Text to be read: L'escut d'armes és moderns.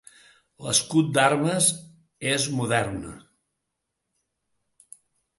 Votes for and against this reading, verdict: 1, 2, rejected